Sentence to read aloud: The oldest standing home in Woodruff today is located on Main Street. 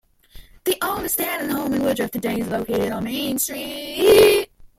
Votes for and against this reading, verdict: 1, 2, rejected